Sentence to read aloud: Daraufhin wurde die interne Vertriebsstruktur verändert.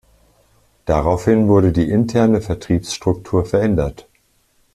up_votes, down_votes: 2, 0